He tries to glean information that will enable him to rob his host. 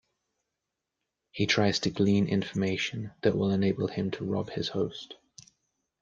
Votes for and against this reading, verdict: 2, 0, accepted